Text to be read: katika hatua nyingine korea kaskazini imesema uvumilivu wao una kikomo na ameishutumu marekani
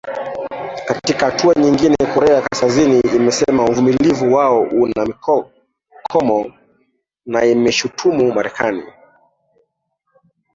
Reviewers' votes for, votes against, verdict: 0, 2, rejected